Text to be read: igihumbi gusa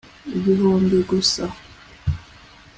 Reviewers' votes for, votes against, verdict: 2, 0, accepted